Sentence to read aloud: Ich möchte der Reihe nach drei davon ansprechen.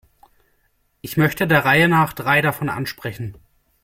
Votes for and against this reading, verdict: 2, 0, accepted